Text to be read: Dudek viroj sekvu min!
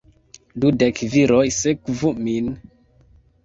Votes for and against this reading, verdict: 2, 0, accepted